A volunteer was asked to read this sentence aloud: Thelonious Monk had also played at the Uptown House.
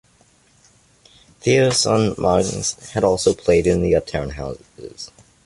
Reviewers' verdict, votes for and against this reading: rejected, 0, 2